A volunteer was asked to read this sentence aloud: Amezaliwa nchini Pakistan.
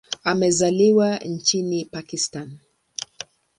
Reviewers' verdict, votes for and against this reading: accepted, 2, 0